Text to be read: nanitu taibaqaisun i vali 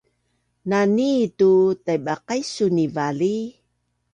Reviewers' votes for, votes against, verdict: 2, 0, accepted